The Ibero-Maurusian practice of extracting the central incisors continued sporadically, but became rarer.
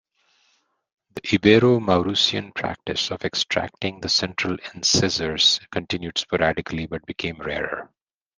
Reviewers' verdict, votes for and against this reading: rejected, 0, 2